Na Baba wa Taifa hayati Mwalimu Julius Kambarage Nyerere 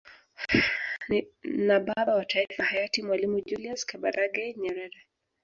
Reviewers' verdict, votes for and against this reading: rejected, 0, 2